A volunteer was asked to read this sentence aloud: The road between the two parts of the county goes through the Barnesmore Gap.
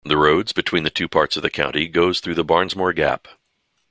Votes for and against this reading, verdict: 2, 1, accepted